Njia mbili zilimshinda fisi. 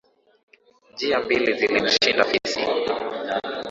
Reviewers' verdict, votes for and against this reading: accepted, 6, 0